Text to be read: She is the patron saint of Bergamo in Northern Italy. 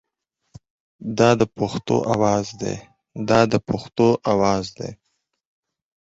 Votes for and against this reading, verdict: 0, 4, rejected